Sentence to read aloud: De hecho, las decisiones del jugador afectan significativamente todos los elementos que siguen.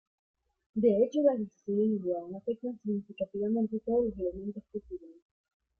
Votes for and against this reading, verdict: 0, 2, rejected